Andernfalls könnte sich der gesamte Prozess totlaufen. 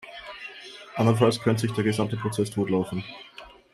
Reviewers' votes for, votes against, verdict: 2, 1, accepted